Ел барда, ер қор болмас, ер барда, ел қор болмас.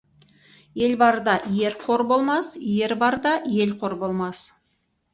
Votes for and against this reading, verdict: 2, 2, rejected